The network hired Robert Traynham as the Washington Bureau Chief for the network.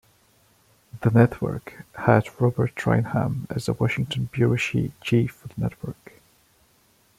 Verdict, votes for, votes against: rejected, 1, 2